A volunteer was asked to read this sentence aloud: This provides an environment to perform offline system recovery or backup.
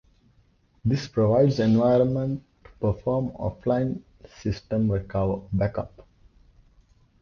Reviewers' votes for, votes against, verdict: 1, 2, rejected